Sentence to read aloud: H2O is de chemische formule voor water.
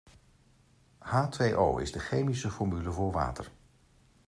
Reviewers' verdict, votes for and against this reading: rejected, 0, 2